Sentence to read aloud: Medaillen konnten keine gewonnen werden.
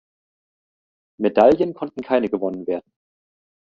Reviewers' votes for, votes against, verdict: 2, 0, accepted